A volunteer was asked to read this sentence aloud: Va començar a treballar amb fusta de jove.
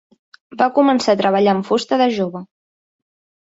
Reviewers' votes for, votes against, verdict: 3, 0, accepted